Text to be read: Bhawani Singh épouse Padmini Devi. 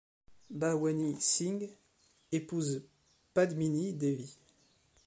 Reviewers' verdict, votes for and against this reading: accepted, 2, 1